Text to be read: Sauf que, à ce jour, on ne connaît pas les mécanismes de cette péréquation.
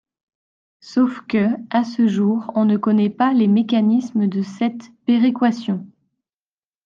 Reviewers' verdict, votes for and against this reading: accepted, 2, 0